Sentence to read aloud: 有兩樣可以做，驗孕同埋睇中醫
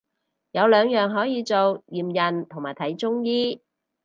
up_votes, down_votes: 4, 0